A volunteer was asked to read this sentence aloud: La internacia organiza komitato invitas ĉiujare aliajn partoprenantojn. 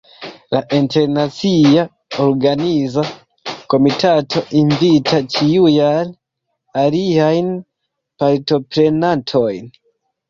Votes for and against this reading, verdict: 0, 2, rejected